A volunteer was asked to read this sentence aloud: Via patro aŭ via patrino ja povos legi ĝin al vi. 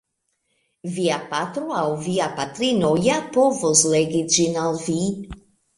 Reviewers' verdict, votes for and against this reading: accepted, 2, 0